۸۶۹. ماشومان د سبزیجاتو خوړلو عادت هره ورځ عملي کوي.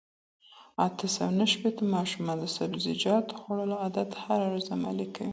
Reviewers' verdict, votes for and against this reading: rejected, 0, 2